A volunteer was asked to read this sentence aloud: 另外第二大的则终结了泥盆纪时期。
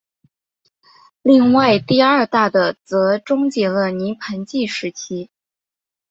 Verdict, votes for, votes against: accepted, 2, 0